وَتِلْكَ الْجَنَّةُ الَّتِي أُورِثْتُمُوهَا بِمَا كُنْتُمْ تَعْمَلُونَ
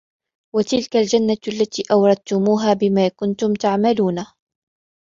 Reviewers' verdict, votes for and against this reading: accepted, 3, 2